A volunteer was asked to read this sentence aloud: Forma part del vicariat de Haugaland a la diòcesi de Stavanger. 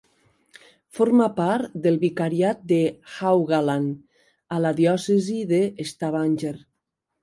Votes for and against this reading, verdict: 4, 1, accepted